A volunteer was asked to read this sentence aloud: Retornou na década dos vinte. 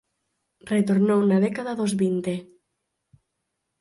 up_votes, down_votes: 4, 0